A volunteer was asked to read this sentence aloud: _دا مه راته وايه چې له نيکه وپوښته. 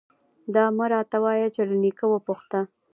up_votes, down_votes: 1, 2